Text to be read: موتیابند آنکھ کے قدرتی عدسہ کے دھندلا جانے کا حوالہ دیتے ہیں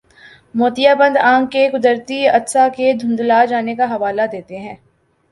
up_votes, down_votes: 3, 0